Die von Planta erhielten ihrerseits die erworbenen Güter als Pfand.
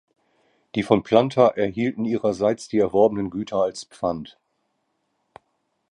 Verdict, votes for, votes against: accepted, 2, 0